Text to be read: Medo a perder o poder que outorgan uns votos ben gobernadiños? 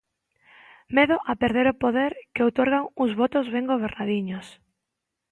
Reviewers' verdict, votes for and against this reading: accepted, 2, 0